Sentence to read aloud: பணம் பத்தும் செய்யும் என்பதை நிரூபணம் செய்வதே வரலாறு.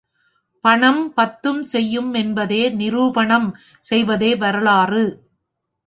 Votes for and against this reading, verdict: 1, 2, rejected